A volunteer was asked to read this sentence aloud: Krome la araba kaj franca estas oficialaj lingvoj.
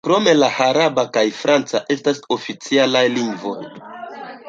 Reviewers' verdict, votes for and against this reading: rejected, 0, 2